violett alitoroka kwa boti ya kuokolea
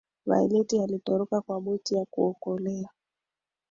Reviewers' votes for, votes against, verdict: 1, 2, rejected